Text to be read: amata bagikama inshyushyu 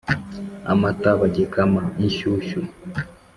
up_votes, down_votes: 2, 0